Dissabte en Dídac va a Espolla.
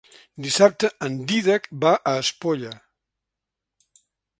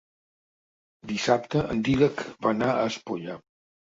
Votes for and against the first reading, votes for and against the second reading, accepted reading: 3, 0, 0, 2, first